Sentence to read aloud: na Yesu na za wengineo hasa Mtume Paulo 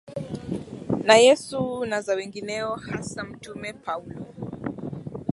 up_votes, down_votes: 4, 1